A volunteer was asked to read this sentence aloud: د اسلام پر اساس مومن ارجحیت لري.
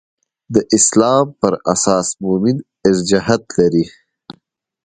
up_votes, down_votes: 2, 0